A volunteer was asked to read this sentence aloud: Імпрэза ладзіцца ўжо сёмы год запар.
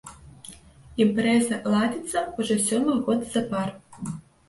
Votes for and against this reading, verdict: 1, 2, rejected